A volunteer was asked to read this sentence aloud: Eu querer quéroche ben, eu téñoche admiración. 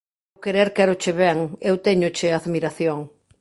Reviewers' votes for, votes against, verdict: 0, 2, rejected